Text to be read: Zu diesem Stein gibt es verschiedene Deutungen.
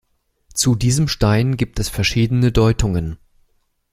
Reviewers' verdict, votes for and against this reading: accepted, 2, 0